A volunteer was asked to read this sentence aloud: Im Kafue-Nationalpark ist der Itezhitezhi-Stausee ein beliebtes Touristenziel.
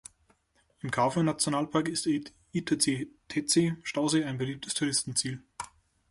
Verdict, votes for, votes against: rejected, 0, 2